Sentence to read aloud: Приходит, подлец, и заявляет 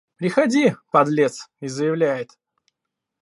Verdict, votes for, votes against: rejected, 0, 2